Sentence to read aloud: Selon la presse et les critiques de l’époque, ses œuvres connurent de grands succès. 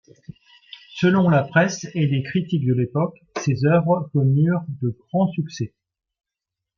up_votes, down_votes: 2, 0